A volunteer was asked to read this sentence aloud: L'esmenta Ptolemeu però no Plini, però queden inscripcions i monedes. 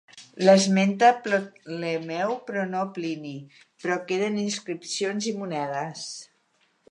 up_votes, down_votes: 1, 2